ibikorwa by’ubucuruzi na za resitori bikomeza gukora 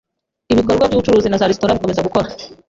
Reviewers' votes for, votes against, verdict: 2, 0, accepted